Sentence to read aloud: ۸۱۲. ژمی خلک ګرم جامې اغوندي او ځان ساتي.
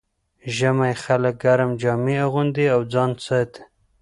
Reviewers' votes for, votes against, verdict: 0, 2, rejected